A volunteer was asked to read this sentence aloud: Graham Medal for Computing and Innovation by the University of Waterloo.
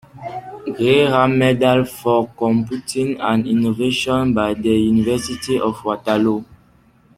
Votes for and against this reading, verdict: 2, 1, accepted